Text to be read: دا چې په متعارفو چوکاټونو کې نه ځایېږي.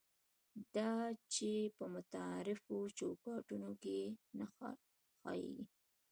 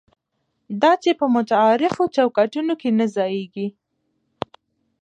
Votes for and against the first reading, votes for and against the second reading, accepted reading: 1, 2, 2, 0, second